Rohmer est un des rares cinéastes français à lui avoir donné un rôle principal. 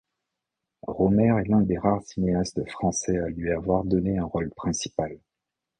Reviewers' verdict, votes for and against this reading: accepted, 2, 0